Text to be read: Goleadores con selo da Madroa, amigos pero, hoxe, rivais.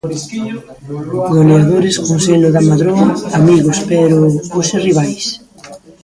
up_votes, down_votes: 0, 2